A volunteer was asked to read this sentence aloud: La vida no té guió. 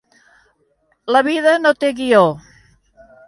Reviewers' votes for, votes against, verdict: 3, 0, accepted